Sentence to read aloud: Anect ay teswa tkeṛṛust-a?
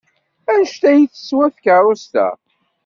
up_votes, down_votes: 2, 0